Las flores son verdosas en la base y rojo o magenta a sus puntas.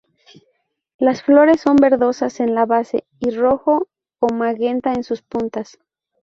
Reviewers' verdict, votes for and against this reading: rejected, 0, 2